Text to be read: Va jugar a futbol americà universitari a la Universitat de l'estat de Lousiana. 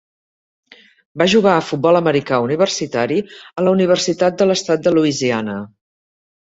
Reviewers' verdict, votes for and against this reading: accepted, 4, 0